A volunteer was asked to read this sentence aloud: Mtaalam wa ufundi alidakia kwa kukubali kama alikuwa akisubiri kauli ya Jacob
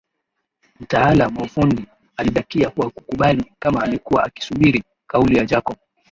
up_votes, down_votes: 3, 1